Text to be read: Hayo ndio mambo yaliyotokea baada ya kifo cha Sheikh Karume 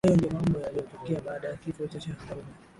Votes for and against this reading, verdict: 0, 2, rejected